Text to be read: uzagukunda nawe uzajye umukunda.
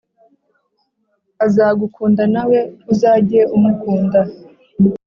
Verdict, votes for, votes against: rejected, 1, 2